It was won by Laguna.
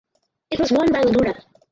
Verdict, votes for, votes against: rejected, 2, 2